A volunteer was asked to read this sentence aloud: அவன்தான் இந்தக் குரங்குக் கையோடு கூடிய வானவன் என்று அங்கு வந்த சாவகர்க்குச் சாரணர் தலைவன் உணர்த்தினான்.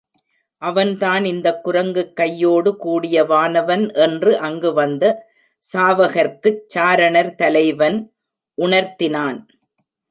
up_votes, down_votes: 2, 0